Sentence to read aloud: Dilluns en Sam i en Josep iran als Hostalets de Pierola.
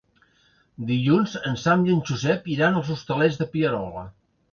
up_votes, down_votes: 2, 0